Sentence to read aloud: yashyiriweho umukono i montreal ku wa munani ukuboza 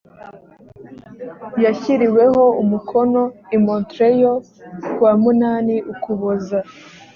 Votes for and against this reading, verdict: 2, 0, accepted